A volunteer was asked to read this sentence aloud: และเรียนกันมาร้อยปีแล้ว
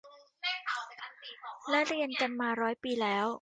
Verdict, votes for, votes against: accepted, 2, 1